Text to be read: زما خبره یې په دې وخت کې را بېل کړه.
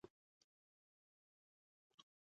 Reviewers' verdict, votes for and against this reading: rejected, 0, 2